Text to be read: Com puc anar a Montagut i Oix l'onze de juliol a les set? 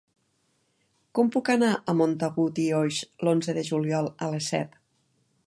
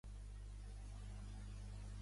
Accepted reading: first